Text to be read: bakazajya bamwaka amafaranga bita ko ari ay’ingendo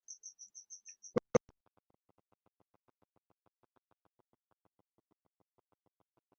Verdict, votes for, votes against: rejected, 1, 2